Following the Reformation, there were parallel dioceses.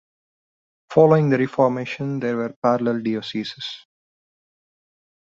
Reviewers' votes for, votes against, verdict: 1, 2, rejected